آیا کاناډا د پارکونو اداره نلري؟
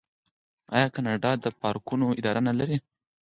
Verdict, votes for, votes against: rejected, 2, 4